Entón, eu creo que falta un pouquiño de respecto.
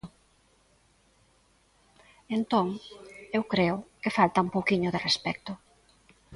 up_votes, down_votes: 1, 2